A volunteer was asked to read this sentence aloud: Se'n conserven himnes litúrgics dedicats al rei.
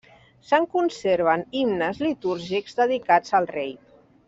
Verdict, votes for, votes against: accepted, 3, 0